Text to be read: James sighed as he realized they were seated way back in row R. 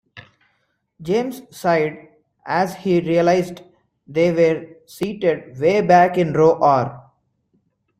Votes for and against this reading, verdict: 2, 0, accepted